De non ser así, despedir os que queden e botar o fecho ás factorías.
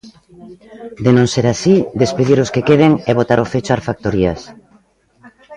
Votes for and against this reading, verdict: 2, 0, accepted